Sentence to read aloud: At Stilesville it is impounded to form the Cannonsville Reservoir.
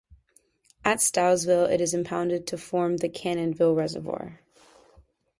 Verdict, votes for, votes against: accepted, 2, 0